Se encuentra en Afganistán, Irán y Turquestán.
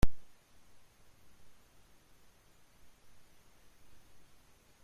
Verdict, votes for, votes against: rejected, 1, 2